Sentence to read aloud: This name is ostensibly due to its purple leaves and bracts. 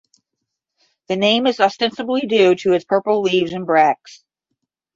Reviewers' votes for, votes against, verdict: 5, 5, rejected